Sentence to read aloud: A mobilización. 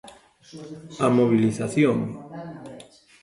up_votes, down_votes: 0, 2